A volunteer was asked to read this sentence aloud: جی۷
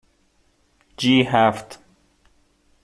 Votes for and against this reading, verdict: 0, 2, rejected